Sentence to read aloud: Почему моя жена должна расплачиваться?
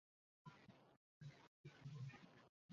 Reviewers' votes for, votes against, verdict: 0, 2, rejected